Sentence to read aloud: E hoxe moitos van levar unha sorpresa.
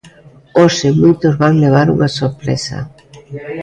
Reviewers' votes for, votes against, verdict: 1, 2, rejected